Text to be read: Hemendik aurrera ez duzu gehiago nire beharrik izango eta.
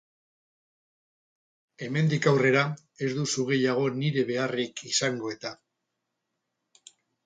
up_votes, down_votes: 0, 2